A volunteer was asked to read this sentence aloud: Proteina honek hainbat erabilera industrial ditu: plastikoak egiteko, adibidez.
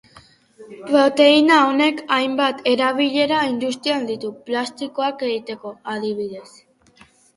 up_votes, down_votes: 0, 2